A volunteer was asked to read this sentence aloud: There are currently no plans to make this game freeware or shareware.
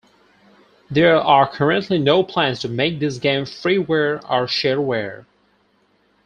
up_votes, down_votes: 4, 0